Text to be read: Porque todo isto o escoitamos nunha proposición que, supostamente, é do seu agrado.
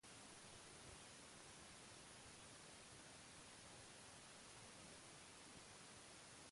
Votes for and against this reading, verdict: 0, 3, rejected